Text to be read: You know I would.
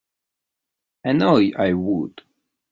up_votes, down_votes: 1, 2